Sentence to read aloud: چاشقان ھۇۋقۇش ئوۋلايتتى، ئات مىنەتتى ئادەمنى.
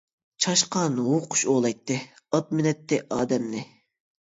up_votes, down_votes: 2, 0